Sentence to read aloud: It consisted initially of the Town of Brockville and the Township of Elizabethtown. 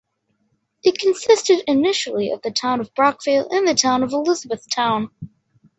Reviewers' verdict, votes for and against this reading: rejected, 1, 2